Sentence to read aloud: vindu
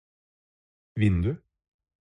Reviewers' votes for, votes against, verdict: 4, 0, accepted